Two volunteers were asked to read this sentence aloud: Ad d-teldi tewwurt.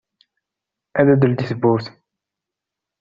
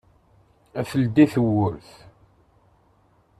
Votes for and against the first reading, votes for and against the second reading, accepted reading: 2, 0, 0, 2, first